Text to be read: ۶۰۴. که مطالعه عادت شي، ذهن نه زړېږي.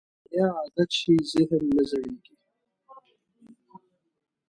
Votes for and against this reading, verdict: 0, 2, rejected